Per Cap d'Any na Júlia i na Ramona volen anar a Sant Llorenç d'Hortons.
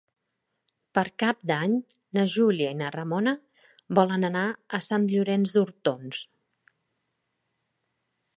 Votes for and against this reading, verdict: 3, 0, accepted